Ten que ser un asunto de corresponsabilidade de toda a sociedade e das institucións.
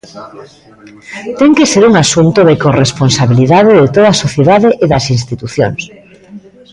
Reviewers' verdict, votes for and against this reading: rejected, 0, 2